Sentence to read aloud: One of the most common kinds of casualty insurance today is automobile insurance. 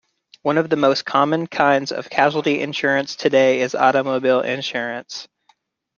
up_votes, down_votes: 2, 0